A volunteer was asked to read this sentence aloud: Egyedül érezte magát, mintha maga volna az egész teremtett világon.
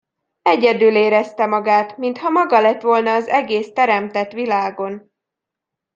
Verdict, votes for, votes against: rejected, 1, 2